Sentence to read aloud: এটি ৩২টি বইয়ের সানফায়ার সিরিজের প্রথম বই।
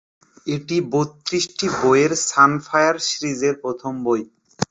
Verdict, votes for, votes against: rejected, 0, 2